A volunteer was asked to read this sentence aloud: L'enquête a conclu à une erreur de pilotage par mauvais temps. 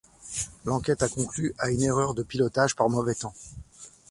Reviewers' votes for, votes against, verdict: 0, 2, rejected